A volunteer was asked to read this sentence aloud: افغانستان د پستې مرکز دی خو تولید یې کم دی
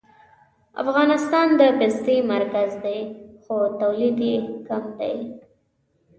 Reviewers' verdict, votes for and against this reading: accepted, 2, 1